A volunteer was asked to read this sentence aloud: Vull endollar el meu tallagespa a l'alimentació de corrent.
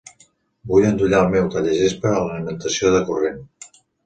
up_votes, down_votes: 1, 2